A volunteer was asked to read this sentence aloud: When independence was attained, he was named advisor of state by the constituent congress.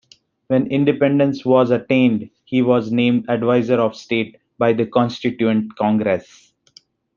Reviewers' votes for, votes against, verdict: 2, 0, accepted